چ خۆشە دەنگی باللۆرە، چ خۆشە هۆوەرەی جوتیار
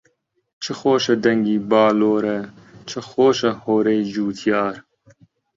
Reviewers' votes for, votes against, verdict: 2, 1, accepted